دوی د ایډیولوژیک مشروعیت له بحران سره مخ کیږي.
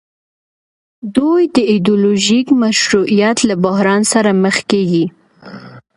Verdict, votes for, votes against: accepted, 2, 1